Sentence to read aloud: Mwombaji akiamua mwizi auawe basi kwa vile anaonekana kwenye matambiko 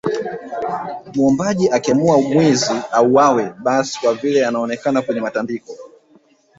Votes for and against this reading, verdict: 2, 1, accepted